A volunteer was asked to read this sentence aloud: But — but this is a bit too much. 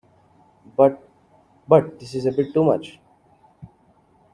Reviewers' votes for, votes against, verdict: 0, 2, rejected